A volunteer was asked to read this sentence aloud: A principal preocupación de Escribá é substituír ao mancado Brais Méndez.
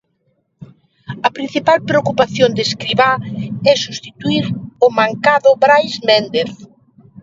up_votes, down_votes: 2, 1